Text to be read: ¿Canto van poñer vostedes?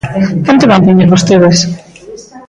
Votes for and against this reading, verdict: 1, 2, rejected